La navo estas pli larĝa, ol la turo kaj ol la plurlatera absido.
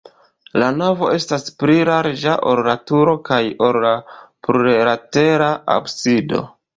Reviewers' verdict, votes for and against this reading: rejected, 1, 2